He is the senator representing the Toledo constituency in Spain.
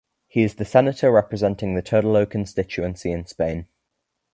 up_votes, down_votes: 0, 2